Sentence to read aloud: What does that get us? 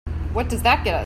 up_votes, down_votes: 0, 2